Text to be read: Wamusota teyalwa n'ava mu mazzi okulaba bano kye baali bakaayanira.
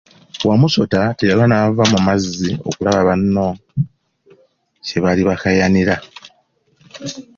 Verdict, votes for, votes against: accepted, 2, 1